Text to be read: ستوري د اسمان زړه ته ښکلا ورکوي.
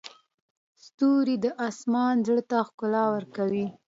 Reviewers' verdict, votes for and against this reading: accepted, 2, 0